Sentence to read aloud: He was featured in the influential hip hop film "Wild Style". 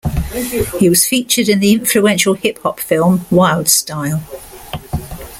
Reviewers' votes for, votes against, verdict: 2, 0, accepted